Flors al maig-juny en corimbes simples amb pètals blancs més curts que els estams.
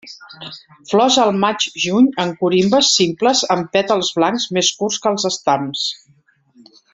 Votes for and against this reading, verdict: 2, 0, accepted